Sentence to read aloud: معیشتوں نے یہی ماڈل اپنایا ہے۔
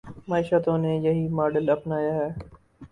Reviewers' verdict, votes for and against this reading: accepted, 2, 0